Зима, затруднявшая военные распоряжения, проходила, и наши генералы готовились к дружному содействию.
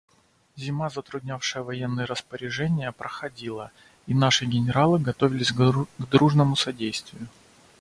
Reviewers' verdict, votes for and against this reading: rejected, 0, 2